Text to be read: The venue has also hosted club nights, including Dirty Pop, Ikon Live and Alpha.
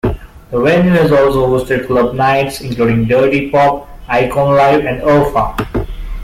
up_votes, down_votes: 0, 2